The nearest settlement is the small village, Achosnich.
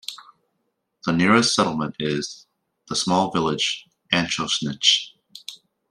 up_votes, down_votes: 2, 0